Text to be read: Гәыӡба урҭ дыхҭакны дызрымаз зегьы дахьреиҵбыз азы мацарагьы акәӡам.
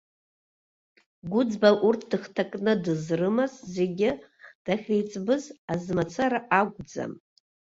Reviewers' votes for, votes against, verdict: 1, 2, rejected